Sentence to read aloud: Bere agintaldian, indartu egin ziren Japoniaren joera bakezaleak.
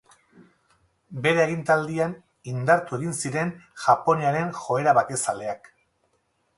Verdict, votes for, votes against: accepted, 2, 0